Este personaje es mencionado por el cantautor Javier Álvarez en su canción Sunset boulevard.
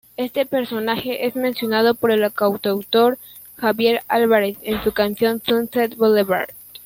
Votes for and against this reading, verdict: 1, 2, rejected